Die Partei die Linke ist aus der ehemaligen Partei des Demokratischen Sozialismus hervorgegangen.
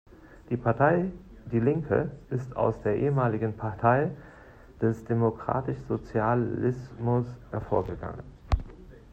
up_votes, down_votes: 0, 2